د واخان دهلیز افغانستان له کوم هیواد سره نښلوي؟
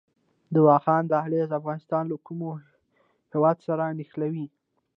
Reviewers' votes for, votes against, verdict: 1, 2, rejected